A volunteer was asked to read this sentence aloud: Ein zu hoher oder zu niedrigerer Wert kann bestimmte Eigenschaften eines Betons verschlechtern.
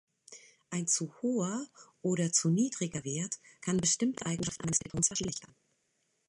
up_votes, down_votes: 1, 2